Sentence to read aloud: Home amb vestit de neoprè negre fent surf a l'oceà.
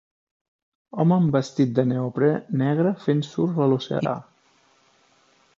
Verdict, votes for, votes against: accepted, 2, 1